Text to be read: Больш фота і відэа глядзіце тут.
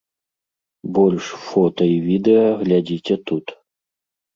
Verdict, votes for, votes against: accepted, 2, 0